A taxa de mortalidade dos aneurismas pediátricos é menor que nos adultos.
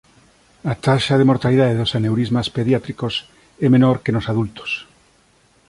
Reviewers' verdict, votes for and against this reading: accepted, 2, 0